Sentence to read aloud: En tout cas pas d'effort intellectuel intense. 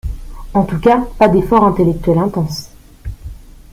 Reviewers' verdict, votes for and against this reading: rejected, 1, 2